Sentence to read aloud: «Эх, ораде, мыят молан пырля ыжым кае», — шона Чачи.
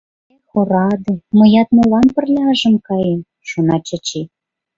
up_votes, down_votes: 2, 0